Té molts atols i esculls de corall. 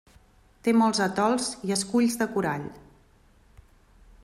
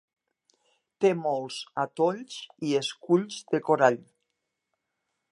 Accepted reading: first